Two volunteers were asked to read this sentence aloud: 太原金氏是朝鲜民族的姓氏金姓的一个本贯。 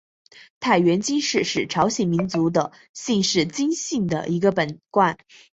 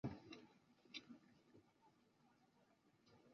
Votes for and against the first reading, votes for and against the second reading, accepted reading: 2, 0, 0, 2, first